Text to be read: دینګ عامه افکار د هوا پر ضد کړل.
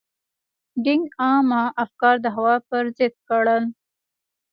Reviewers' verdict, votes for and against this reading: rejected, 1, 2